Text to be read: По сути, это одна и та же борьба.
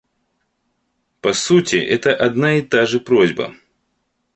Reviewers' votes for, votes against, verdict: 0, 2, rejected